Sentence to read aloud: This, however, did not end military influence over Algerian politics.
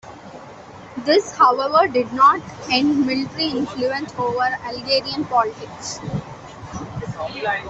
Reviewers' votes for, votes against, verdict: 2, 0, accepted